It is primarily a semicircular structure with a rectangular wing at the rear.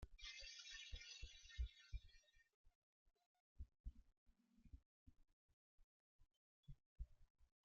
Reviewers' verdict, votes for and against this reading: rejected, 0, 2